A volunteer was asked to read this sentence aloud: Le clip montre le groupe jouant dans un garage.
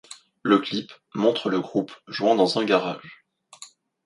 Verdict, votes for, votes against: accepted, 2, 0